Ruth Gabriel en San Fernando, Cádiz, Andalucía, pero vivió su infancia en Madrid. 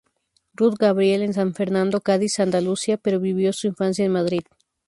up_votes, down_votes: 0, 2